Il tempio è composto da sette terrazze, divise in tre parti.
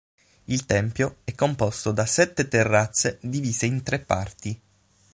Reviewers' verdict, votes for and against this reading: accepted, 6, 0